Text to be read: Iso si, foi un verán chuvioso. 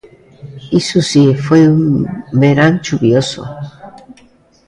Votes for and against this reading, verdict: 1, 2, rejected